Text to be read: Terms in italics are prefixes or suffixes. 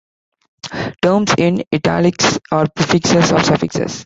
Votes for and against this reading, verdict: 0, 2, rejected